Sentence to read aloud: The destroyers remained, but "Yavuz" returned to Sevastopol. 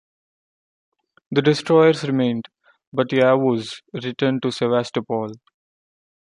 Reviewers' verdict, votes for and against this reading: accepted, 2, 0